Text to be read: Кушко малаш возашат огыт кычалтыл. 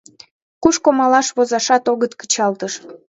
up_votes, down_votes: 1, 2